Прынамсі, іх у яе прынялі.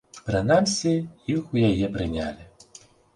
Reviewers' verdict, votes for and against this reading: accepted, 4, 0